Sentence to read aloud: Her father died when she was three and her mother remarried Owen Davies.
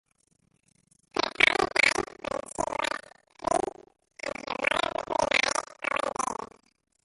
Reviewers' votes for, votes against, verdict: 0, 2, rejected